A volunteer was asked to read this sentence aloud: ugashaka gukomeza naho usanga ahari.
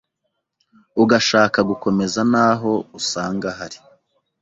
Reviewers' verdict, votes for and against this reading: accepted, 2, 0